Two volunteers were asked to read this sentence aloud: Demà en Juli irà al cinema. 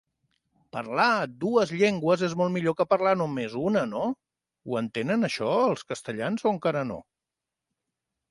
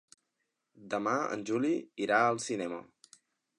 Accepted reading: second